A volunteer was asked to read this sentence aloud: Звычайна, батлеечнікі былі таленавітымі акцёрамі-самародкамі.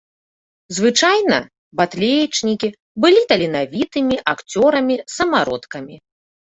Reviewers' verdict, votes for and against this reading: accepted, 2, 0